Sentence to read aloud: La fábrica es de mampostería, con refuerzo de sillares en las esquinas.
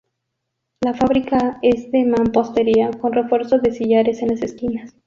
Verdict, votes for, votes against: accepted, 2, 0